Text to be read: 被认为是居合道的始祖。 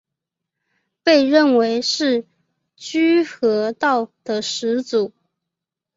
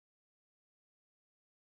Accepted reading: first